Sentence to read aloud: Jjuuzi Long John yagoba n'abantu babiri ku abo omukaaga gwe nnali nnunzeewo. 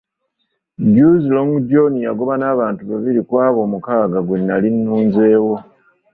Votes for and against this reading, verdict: 1, 2, rejected